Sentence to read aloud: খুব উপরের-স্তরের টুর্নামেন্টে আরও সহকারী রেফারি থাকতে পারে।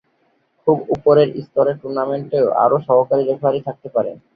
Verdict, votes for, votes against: rejected, 2, 3